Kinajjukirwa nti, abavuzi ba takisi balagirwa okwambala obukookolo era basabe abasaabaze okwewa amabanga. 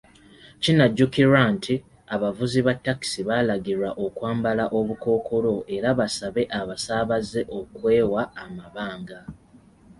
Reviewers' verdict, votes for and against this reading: accepted, 2, 0